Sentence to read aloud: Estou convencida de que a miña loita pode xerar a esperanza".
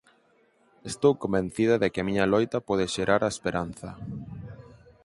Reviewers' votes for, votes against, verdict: 4, 0, accepted